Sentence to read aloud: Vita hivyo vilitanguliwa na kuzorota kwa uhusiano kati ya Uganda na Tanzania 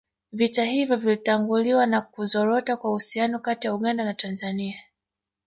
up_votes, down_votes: 2, 0